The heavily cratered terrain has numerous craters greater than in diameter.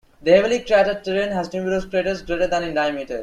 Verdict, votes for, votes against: rejected, 1, 2